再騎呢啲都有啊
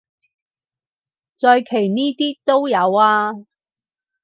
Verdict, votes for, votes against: rejected, 4, 4